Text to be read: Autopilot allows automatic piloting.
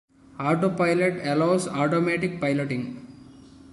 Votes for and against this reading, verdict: 2, 1, accepted